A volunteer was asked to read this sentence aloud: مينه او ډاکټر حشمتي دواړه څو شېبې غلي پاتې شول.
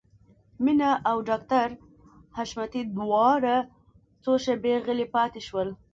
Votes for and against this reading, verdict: 1, 2, rejected